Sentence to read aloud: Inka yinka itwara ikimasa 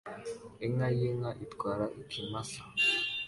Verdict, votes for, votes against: accepted, 2, 1